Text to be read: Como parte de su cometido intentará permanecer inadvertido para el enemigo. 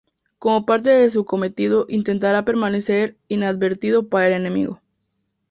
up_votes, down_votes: 2, 0